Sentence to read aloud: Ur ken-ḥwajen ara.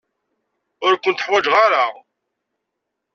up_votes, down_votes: 1, 2